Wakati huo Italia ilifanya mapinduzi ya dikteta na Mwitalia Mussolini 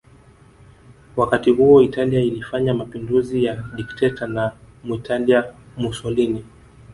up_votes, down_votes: 2, 0